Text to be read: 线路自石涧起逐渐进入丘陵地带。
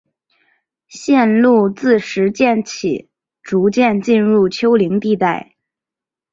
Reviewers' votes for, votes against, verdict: 2, 0, accepted